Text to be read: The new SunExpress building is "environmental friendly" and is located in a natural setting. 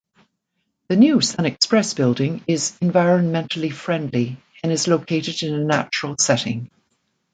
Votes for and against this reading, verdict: 1, 2, rejected